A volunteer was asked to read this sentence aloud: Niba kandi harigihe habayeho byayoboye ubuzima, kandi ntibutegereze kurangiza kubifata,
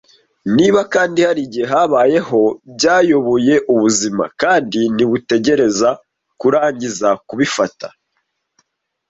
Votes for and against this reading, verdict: 2, 0, accepted